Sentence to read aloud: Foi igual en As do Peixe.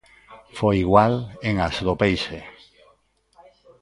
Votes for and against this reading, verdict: 2, 1, accepted